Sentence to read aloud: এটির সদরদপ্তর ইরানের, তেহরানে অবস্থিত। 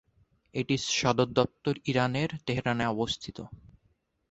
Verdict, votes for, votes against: accepted, 3, 0